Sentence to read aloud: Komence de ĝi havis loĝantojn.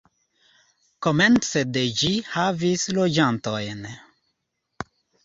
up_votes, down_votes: 2, 0